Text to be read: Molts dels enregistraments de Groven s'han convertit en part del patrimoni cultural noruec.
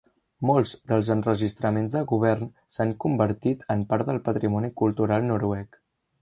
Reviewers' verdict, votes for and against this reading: rejected, 1, 2